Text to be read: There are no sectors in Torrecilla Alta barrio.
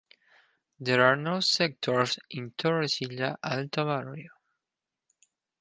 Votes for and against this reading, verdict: 2, 0, accepted